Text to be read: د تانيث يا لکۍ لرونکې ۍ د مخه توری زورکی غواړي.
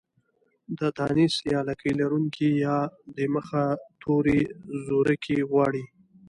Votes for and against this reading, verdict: 2, 0, accepted